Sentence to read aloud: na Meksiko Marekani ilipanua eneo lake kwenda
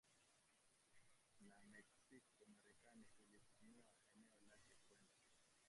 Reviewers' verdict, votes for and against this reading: rejected, 1, 2